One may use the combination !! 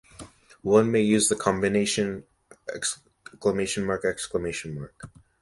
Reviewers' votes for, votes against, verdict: 0, 2, rejected